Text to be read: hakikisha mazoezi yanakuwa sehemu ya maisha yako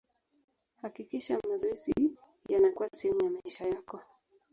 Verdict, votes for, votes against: rejected, 1, 2